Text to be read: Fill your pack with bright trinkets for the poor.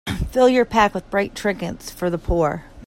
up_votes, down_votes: 2, 0